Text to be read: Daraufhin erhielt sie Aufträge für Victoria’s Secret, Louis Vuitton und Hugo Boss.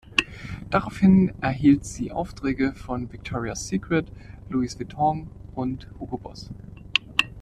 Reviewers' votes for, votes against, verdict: 1, 2, rejected